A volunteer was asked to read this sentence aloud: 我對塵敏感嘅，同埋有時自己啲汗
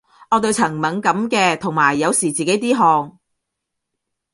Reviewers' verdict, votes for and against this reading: accepted, 2, 0